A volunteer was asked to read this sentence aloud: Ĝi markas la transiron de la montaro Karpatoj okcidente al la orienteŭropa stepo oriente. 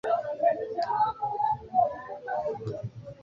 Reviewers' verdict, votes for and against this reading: accepted, 2, 1